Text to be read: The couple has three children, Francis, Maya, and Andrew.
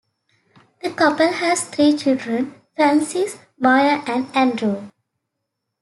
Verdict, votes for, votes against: accepted, 2, 0